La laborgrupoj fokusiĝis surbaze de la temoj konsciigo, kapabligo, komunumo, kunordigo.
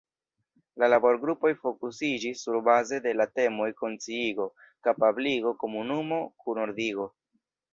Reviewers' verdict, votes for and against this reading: rejected, 1, 2